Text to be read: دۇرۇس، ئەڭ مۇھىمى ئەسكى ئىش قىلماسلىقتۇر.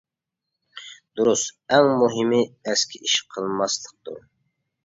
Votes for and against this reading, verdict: 2, 0, accepted